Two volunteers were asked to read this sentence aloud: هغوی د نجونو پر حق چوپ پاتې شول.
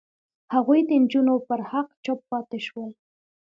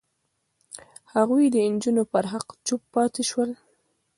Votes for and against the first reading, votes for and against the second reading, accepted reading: 2, 0, 0, 2, first